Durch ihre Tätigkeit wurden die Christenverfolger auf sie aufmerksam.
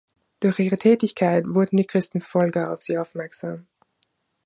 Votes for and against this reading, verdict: 2, 0, accepted